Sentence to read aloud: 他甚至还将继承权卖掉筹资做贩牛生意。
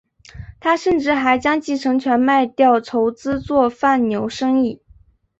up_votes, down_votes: 2, 1